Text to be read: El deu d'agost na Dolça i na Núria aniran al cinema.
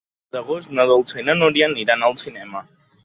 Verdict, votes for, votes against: rejected, 0, 2